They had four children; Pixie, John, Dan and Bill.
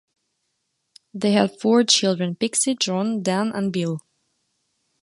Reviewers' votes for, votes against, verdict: 2, 0, accepted